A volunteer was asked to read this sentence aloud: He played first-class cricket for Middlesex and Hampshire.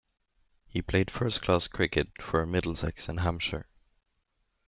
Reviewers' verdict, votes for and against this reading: rejected, 0, 2